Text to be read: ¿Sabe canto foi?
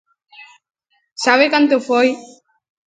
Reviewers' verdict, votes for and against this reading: accepted, 2, 0